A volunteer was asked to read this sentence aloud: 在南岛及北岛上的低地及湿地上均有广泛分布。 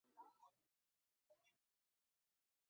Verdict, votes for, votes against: rejected, 0, 5